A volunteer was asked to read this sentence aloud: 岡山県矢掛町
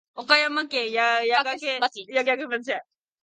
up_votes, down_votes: 0, 2